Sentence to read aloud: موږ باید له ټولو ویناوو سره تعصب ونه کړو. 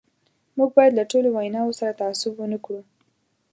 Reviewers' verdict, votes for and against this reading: accepted, 2, 0